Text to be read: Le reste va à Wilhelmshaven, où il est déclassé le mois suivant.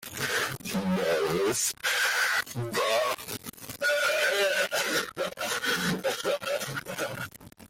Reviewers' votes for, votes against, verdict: 0, 2, rejected